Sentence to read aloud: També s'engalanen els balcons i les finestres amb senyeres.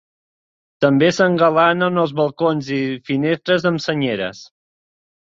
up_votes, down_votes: 1, 2